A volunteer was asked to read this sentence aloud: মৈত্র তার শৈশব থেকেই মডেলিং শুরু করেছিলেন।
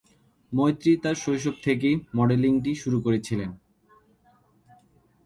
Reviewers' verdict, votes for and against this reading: rejected, 2, 2